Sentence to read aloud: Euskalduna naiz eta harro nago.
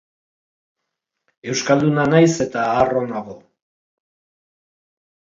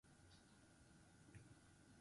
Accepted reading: first